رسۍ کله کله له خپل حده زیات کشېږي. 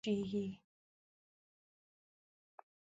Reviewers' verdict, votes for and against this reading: rejected, 1, 2